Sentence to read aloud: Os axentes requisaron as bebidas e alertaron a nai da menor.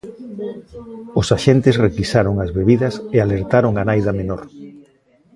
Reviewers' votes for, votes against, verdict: 1, 2, rejected